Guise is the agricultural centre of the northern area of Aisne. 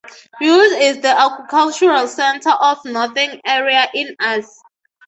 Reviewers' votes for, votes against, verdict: 0, 3, rejected